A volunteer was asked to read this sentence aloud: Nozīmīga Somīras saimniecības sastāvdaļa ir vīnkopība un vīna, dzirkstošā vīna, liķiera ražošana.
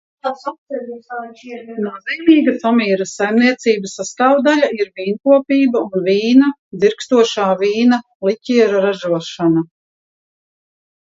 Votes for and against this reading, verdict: 0, 2, rejected